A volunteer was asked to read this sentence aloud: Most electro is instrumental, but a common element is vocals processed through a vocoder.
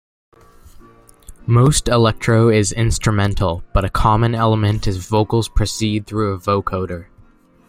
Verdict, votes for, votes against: accepted, 2, 1